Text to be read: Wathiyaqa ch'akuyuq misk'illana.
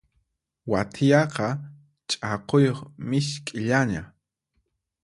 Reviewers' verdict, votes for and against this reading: accepted, 4, 0